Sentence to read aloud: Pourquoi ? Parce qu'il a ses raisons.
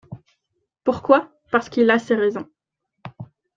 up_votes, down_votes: 2, 1